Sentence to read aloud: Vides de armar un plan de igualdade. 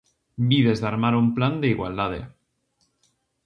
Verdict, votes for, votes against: rejected, 0, 2